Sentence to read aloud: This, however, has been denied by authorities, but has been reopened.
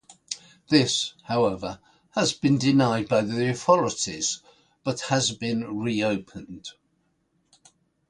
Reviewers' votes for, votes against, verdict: 0, 2, rejected